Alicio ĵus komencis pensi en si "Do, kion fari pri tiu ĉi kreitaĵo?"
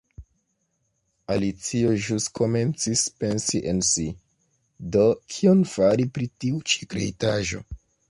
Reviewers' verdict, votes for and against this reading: accepted, 2, 1